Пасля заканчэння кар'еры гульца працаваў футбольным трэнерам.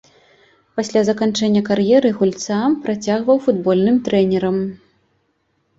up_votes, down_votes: 0, 2